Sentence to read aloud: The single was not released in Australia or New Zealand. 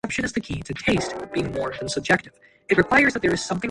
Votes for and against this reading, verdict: 0, 2, rejected